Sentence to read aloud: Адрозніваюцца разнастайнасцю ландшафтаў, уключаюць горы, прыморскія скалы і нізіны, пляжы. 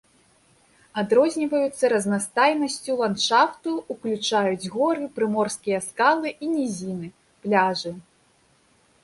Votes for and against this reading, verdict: 0, 2, rejected